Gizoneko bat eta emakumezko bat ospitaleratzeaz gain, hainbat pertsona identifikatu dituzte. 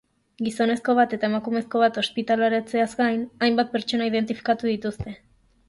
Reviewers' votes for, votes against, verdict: 0, 2, rejected